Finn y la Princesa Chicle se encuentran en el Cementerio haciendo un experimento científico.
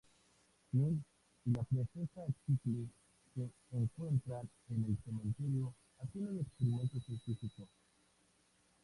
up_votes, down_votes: 0, 2